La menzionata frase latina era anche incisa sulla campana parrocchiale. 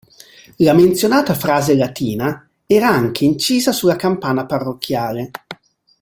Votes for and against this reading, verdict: 2, 0, accepted